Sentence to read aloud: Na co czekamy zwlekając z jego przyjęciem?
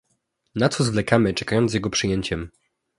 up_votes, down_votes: 0, 2